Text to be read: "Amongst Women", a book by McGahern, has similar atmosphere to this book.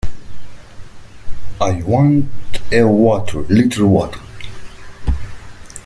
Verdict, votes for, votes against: rejected, 1, 2